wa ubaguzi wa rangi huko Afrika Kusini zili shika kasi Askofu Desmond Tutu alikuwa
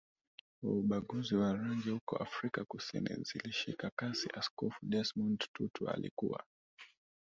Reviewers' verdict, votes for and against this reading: rejected, 1, 2